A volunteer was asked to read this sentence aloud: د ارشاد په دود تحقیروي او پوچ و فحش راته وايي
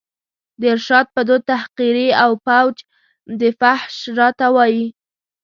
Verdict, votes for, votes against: rejected, 0, 2